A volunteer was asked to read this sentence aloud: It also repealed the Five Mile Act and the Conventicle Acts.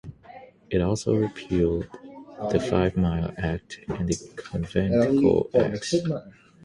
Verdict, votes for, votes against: accepted, 6, 0